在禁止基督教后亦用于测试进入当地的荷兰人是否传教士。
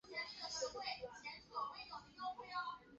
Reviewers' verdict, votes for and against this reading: rejected, 0, 2